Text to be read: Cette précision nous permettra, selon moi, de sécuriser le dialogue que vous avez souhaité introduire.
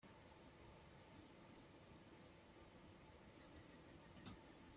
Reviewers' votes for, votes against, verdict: 0, 2, rejected